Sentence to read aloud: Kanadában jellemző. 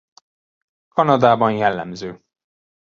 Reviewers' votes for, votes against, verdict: 3, 0, accepted